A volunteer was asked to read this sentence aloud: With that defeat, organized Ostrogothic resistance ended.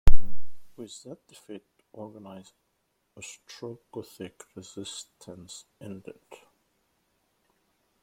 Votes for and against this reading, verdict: 0, 2, rejected